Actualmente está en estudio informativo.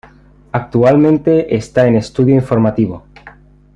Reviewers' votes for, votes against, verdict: 2, 0, accepted